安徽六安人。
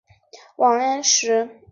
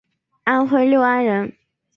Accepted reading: second